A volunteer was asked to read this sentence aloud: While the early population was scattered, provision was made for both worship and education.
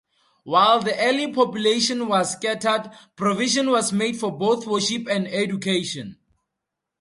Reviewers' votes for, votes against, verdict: 2, 0, accepted